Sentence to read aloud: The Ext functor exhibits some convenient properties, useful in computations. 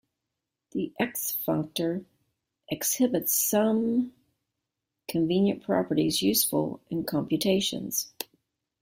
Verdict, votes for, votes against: accepted, 2, 0